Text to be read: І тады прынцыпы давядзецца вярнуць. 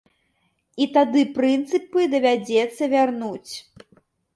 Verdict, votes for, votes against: accepted, 2, 0